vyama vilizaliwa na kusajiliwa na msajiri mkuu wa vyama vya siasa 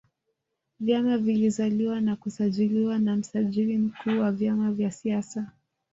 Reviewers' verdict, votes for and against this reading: accepted, 2, 0